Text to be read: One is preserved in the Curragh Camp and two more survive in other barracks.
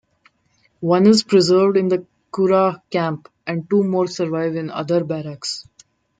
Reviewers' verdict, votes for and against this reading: accepted, 2, 0